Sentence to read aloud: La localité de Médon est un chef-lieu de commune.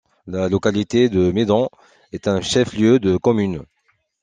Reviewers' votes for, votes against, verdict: 2, 0, accepted